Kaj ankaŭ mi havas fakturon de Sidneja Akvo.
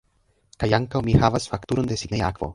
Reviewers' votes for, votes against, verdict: 1, 2, rejected